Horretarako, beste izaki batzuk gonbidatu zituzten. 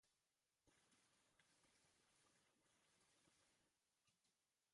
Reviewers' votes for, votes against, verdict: 0, 2, rejected